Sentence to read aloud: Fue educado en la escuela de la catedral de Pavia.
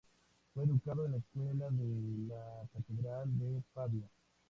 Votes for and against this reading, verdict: 2, 0, accepted